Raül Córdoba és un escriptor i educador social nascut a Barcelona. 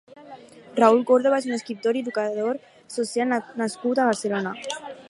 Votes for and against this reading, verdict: 2, 2, rejected